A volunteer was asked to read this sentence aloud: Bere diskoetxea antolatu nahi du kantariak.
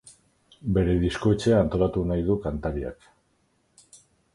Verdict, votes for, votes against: accepted, 4, 0